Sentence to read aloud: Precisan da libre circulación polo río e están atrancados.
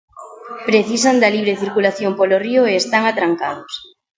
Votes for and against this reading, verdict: 2, 1, accepted